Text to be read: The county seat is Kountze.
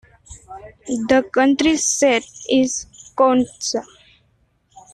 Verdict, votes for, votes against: rejected, 1, 2